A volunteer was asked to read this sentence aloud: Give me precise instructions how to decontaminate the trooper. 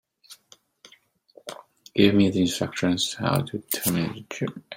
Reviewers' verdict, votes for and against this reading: rejected, 0, 2